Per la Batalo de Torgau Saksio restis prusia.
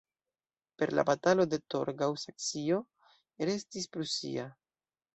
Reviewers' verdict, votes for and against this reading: accepted, 2, 0